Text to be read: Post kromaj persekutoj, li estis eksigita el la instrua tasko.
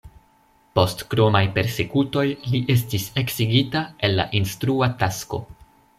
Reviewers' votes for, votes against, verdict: 2, 0, accepted